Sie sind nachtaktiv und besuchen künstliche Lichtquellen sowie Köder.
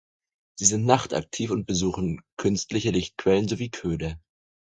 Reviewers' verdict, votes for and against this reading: accepted, 4, 0